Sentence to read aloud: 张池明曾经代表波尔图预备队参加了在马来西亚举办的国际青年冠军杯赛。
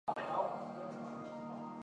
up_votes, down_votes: 0, 3